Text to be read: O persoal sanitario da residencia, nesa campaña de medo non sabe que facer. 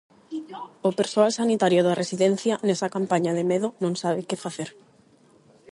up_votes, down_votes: 4, 4